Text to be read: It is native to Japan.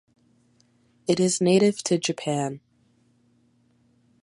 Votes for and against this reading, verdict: 3, 0, accepted